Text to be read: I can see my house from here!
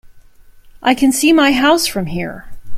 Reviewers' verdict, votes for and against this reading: accepted, 2, 0